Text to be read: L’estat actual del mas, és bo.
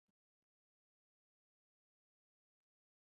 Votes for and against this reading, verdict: 0, 2, rejected